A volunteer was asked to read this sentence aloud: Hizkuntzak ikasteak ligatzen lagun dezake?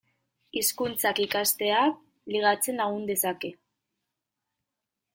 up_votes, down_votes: 2, 0